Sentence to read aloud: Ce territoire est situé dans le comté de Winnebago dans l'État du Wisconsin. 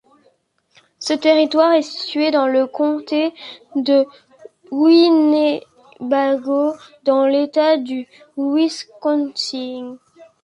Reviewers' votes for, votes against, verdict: 1, 2, rejected